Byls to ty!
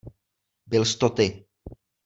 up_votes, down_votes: 2, 0